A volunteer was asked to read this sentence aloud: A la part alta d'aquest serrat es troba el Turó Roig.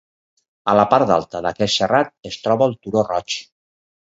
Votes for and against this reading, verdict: 2, 4, rejected